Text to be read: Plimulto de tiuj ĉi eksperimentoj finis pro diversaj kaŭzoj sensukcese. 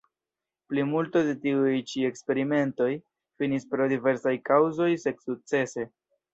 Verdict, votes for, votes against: rejected, 0, 2